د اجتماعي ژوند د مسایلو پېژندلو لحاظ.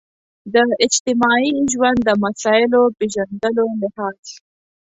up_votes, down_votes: 2, 0